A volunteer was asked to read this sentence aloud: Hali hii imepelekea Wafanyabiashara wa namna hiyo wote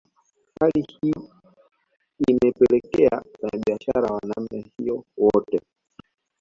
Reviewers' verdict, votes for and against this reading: rejected, 0, 2